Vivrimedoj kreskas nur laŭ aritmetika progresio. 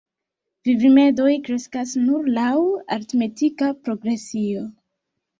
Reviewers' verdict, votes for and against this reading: accepted, 2, 1